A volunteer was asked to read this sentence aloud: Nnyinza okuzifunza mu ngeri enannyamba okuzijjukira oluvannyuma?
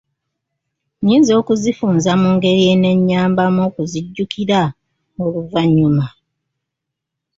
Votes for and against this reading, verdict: 2, 1, accepted